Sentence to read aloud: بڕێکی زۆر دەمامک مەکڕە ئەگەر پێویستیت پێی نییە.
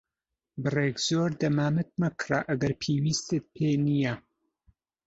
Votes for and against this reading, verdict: 2, 3, rejected